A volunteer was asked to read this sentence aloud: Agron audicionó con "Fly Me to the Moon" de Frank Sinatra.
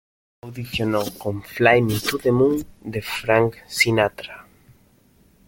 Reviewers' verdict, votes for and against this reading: rejected, 1, 2